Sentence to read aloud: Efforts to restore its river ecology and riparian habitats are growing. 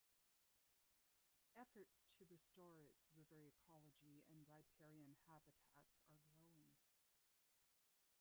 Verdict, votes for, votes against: rejected, 0, 2